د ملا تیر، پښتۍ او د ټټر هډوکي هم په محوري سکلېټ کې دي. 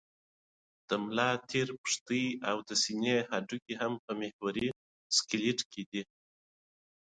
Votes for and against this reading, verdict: 0, 2, rejected